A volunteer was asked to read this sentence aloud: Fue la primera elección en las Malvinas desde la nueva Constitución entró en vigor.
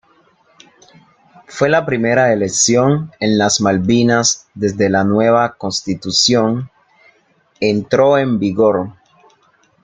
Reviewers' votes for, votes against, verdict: 2, 0, accepted